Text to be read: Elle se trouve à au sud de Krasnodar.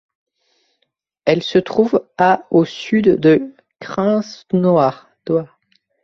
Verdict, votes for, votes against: rejected, 0, 2